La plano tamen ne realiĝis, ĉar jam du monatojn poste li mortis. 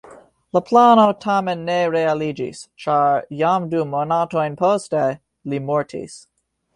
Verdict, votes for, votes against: accepted, 3, 0